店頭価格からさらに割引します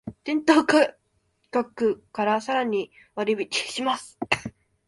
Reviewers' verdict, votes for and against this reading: rejected, 1, 2